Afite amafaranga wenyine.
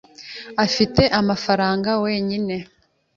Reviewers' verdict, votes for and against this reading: accepted, 2, 0